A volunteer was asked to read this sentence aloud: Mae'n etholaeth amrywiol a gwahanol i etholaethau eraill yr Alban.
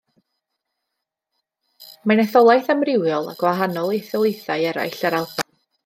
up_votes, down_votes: 1, 2